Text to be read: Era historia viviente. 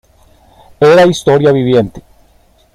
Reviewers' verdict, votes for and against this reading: accepted, 2, 0